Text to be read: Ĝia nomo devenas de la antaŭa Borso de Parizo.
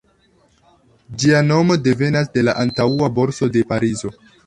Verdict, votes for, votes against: accepted, 2, 0